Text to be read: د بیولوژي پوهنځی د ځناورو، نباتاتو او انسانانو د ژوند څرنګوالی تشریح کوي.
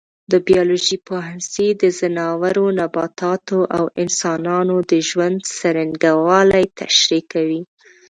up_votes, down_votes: 0, 2